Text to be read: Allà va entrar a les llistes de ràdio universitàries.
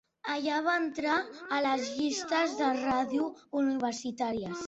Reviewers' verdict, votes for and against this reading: accepted, 2, 0